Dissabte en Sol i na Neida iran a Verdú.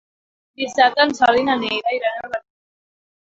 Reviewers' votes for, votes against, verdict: 2, 3, rejected